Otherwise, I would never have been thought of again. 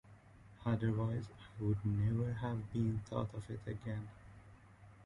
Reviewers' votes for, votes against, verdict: 1, 2, rejected